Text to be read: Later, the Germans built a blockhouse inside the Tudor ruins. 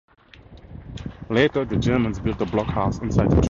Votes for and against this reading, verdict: 0, 4, rejected